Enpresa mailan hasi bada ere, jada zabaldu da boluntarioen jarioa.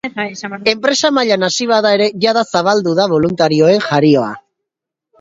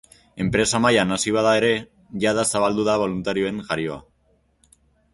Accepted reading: second